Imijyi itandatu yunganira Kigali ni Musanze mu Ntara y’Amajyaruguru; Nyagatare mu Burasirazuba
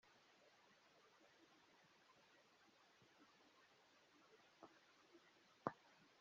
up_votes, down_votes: 0, 2